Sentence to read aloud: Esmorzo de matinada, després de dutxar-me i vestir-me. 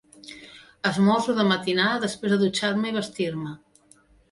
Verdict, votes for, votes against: accepted, 3, 0